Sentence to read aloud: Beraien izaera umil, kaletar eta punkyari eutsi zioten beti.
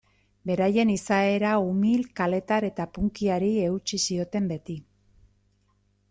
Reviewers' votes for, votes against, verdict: 2, 0, accepted